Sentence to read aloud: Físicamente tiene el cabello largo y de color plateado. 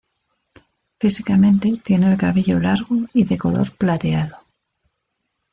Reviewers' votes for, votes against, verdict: 1, 2, rejected